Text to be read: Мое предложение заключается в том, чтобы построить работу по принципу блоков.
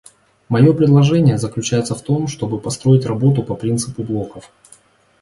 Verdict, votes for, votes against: accepted, 2, 1